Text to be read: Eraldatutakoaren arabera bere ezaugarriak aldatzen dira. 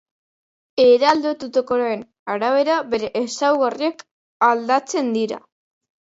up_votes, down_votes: 1, 2